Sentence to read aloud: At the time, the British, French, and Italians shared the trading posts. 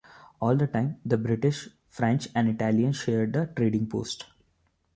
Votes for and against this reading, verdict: 1, 2, rejected